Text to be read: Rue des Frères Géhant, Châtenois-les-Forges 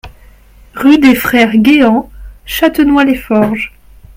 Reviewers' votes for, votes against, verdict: 1, 2, rejected